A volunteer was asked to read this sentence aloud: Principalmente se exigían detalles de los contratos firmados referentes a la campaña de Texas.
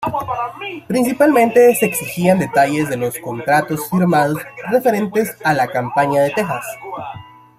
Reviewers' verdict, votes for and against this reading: accepted, 3, 2